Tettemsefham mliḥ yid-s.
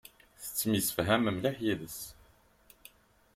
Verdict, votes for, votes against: accepted, 2, 0